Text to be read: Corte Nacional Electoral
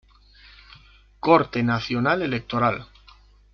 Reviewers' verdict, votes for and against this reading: accepted, 2, 0